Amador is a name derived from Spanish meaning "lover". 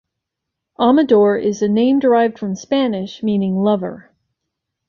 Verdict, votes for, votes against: accepted, 2, 0